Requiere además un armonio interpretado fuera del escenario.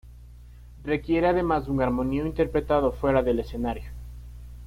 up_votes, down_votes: 1, 2